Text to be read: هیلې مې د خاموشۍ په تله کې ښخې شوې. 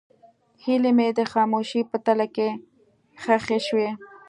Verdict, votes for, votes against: accepted, 2, 0